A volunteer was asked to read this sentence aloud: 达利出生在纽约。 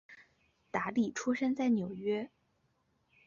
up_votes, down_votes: 3, 0